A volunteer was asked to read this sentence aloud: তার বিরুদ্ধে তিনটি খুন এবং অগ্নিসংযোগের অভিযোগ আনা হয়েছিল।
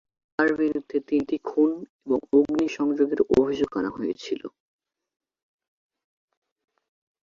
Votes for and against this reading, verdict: 0, 2, rejected